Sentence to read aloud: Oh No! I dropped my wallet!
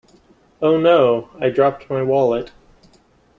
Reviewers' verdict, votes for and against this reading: accepted, 3, 0